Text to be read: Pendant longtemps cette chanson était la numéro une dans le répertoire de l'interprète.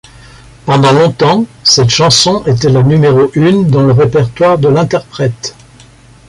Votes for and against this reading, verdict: 2, 0, accepted